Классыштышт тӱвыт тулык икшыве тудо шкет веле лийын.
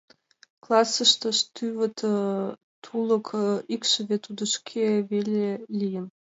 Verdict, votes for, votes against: rejected, 1, 2